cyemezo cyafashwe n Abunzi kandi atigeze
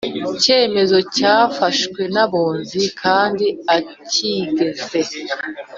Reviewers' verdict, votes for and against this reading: accepted, 2, 0